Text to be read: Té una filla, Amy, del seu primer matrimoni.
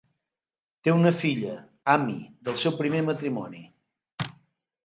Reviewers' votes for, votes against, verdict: 1, 2, rejected